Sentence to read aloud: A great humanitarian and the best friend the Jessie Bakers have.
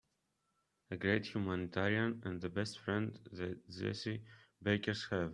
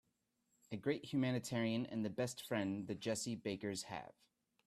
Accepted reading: second